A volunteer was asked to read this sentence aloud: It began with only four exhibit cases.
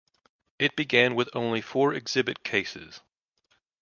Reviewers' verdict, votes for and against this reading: accepted, 2, 0